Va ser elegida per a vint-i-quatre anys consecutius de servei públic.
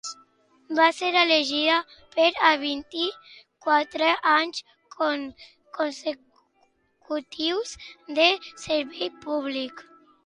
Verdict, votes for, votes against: rejected, 0, 2